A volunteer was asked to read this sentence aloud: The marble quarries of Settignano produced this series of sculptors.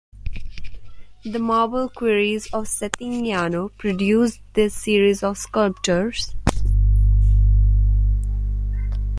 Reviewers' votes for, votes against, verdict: 1, 2, rejected